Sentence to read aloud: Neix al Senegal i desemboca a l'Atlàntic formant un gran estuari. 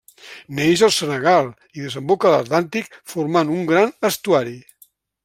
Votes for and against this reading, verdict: 3, 0, accepted